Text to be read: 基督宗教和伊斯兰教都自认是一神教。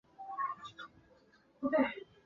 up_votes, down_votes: 2, 3